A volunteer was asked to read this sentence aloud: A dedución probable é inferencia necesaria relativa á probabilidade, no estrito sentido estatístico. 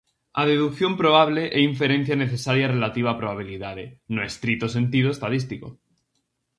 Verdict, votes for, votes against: rejected, 0, 4